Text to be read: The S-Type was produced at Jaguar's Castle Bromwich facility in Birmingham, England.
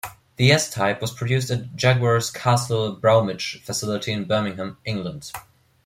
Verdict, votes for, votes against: rejected, 1, 2